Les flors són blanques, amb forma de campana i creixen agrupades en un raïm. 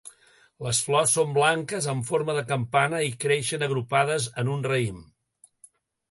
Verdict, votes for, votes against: accepted, 2, 0